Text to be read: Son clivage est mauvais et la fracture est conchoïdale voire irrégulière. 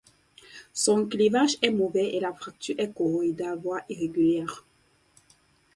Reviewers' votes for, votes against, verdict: 0, 4, rejected